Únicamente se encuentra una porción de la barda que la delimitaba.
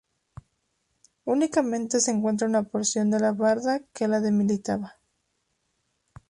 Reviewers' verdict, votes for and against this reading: accepted, 4, 0